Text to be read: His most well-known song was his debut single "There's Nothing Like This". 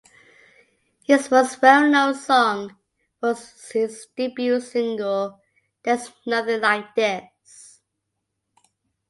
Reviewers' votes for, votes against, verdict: 2, 1, accepted